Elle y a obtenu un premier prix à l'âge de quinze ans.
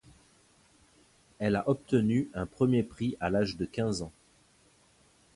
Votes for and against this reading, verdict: 0, 2, rejected